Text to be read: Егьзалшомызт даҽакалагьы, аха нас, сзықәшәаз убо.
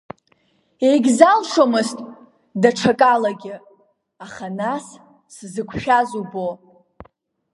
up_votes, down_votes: 0, 2